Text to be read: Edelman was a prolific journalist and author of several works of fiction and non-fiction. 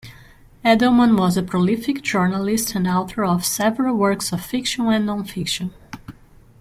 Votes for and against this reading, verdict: 2, 0, accepted